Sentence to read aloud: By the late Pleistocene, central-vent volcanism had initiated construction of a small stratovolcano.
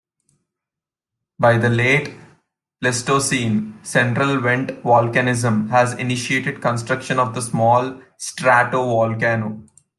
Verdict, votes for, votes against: rejected, 0, 2